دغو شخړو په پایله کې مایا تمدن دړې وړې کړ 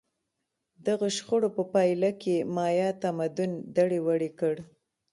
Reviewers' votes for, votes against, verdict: 1, 2, rejected